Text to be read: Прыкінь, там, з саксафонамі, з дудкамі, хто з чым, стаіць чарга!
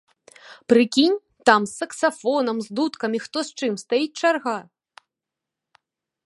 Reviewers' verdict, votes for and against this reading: rejected, 0, 2